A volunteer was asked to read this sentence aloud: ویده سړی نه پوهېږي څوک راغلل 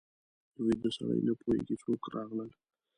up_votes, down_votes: 1, 2